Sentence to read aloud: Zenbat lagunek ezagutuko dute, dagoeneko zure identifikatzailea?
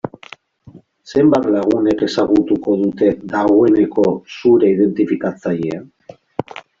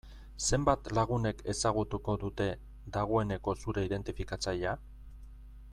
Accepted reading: first